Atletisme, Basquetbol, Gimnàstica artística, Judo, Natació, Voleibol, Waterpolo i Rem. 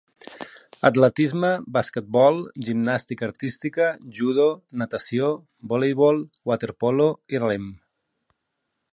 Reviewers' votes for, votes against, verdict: 3, 0, accepted